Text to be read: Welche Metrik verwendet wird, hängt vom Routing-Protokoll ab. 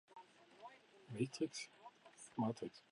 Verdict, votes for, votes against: rejected, 0, 2